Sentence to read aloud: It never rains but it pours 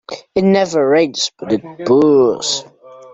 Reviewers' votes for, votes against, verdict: 2, 0, accepted